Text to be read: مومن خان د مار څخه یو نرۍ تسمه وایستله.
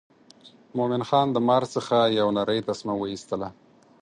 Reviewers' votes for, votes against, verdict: 4, 0, accepted